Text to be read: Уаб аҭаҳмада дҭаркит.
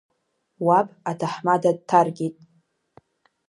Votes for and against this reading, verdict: 2, 0, accepted